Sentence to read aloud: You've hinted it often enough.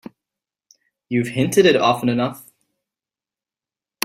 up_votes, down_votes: 2, 0